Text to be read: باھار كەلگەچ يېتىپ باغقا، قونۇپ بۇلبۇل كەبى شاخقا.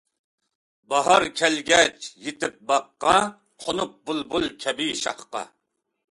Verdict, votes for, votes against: accepted, 2, 0